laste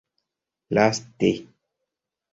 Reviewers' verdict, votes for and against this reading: accepted, 2, 0